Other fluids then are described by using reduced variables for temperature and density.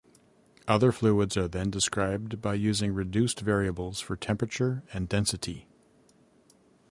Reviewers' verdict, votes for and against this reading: rejected, 1, 2